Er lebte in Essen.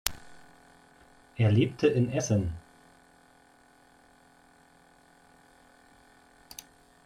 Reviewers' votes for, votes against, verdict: 2, 0, accepted